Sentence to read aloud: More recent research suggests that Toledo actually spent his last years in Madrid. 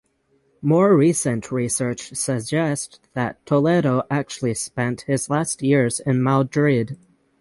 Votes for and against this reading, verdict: 3, 6, rejected